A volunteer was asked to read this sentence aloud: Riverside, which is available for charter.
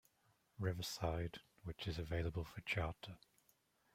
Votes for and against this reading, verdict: 1, 2, rejected